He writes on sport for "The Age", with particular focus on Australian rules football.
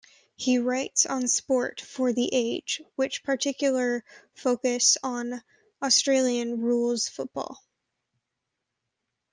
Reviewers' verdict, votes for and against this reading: rejected, 0, 2